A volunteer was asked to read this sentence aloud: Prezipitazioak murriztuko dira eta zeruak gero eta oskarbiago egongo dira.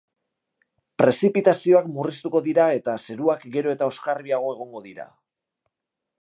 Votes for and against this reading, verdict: 2, 0, accepted